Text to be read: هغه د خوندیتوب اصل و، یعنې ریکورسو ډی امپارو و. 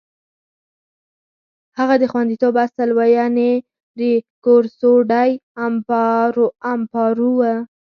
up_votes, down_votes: 0, 6